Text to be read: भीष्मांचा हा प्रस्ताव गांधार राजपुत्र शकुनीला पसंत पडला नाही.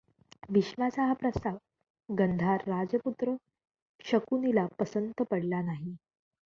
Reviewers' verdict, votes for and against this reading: rejected, 0, 2